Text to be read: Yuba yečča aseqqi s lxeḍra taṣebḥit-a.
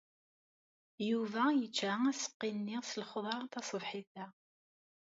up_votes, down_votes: 0, 2